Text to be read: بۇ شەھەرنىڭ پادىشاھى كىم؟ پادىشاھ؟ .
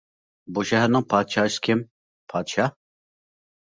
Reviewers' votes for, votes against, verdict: 1, 2, rejected